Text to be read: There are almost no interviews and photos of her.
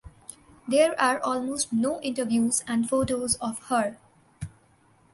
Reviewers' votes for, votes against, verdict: 2, 0, accepted